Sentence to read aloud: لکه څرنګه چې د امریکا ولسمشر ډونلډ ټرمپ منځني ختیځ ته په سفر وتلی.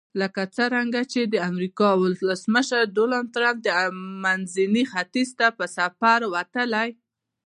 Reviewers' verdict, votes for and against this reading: accepted, 2, 0